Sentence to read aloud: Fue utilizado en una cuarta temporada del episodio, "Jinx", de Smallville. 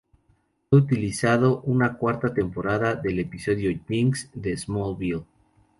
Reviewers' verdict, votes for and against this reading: accepted, 2, 0